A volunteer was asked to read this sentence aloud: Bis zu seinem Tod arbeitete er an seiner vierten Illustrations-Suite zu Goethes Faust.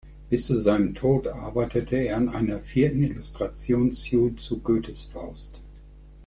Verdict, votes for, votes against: rejected, 2, 3